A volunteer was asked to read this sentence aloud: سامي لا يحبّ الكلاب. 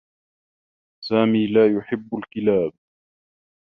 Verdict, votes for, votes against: accepted, 3, 0